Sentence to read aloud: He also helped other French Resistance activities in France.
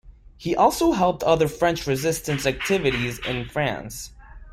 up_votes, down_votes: 2, 0